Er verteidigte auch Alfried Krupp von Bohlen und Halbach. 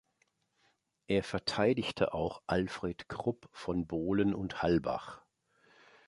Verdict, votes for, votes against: accepted, 2, 0